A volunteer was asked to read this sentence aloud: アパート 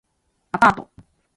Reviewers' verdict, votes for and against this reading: accepted, 2, 0